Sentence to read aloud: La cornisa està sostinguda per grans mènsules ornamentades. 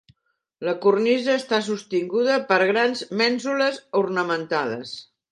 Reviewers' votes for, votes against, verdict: 3, 0, accepted